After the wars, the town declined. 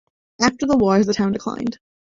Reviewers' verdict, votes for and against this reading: rejected, 1, 2